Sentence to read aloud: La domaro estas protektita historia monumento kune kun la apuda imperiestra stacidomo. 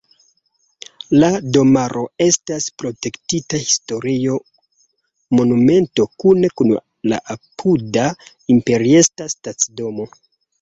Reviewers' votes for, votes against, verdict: 0, 2, rejected